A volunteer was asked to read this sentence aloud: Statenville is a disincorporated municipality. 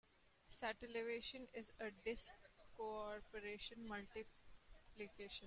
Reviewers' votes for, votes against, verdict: 0, 2, rejected